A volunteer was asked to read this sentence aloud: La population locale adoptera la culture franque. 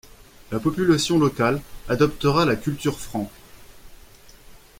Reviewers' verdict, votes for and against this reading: accepted, 2, 0